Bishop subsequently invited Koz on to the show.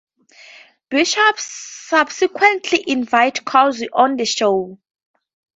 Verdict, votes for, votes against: rejected, 2, 4